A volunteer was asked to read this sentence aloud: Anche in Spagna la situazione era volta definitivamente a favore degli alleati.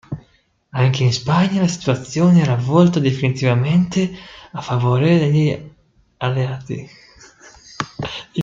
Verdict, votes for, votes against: rejected, 0, 2